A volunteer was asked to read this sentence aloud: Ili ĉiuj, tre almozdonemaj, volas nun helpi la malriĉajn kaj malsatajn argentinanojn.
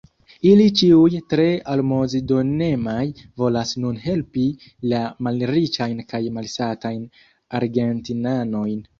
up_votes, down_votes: 1, 2